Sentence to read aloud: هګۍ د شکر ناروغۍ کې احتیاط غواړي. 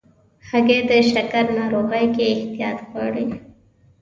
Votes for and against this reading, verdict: 2, 0, accepted